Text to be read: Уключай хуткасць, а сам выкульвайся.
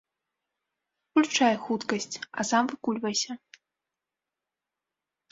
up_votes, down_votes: 0, 2